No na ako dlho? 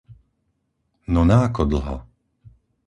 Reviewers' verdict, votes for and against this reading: accepted, 4, 0